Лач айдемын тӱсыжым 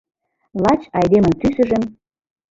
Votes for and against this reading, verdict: 2, 0, accepted